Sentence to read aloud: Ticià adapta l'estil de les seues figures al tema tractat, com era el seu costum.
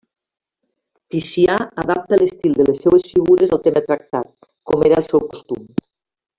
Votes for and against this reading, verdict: 2, 0, accepted